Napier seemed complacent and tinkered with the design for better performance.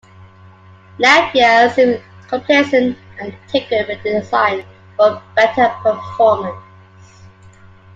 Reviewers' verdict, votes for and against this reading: rejected, 0, 2